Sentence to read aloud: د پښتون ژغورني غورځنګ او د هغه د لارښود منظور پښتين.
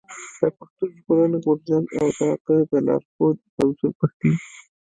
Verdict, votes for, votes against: rejected, 1, 3